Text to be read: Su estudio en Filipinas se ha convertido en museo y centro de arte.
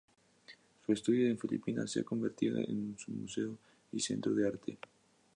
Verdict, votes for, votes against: accepted, 2, 0